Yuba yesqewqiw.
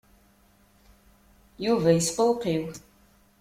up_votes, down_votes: 2, 0